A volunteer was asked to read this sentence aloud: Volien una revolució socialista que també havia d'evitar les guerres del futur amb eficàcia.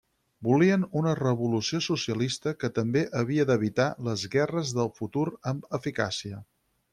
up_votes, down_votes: 6, 0